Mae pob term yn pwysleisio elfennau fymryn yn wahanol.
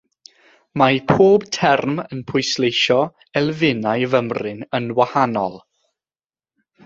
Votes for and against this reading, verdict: 6, 0, accepted